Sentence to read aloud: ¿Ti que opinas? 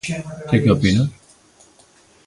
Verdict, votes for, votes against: rejected, 0, 2